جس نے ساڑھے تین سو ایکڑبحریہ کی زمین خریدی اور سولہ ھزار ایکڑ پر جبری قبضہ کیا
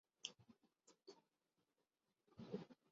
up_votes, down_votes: 2, 5